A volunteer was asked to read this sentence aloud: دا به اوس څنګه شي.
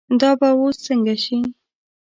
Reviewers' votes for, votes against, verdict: 2, 0, accepted